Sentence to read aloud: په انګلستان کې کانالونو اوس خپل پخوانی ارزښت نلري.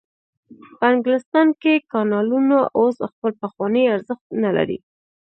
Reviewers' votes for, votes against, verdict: 1, 2, rejected